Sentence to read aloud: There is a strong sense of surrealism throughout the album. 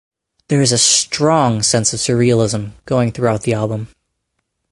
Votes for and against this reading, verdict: 2, 2, rejected